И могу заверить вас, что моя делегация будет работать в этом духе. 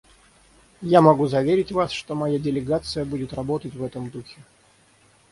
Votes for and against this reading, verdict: 3, 3, rejected